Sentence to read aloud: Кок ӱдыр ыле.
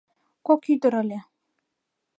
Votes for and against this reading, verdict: 2, 0, accepted